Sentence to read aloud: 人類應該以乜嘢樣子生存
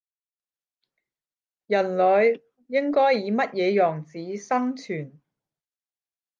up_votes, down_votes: 10, 0